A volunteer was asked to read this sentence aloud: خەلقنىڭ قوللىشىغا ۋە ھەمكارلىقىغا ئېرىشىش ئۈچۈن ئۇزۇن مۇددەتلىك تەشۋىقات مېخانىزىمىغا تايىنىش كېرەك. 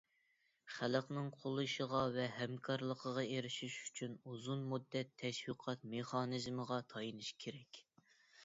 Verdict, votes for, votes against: rejected, 0, 2